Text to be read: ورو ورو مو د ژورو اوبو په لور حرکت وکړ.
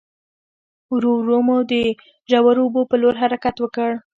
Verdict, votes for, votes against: rejected, 1, 2